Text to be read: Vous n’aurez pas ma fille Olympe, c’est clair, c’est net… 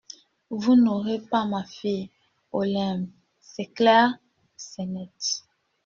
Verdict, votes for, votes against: accepted, 2, 0